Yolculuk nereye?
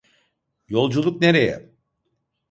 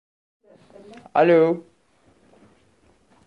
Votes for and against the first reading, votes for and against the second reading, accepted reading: 2, 0, 0, 2, first